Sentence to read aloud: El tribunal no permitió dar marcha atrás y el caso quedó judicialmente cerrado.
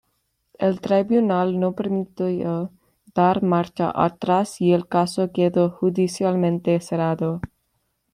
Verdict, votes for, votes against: rejected, 1, 2